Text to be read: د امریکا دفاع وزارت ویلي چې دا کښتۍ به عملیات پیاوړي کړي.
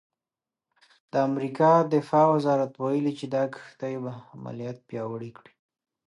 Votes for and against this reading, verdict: 0, 2, rejected